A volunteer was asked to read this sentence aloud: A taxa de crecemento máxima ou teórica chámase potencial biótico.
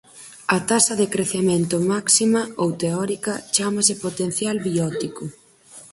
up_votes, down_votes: 4, 0